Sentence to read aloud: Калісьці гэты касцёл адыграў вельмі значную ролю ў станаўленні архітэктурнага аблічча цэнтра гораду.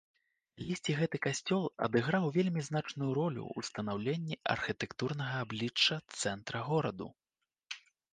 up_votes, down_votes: 2, 0